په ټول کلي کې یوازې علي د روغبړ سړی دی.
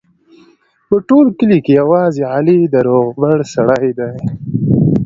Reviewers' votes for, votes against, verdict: 1, 2, rejected